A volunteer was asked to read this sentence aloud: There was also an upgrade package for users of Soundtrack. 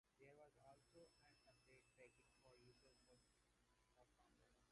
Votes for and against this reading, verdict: 0, 2, rejected